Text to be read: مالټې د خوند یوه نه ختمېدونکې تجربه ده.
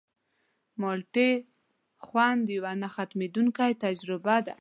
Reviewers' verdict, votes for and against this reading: accepted, 2, 0